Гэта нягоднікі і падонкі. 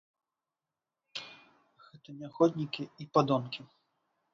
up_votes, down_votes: 0, 3